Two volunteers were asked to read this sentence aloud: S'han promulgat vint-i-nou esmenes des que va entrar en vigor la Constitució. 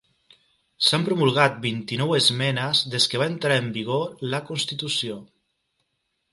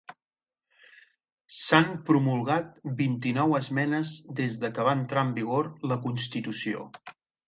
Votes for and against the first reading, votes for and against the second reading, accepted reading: 3, 1, 0, 2, first